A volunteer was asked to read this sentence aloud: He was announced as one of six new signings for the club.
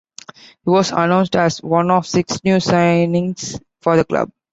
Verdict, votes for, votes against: accepted, 2, 0